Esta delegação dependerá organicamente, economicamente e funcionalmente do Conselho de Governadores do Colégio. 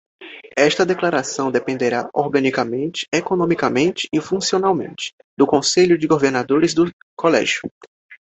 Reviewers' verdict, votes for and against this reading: rejected, 1, 2